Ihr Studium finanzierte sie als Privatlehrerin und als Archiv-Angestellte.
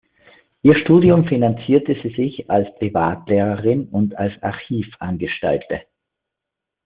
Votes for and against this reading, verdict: 1, 2, rejected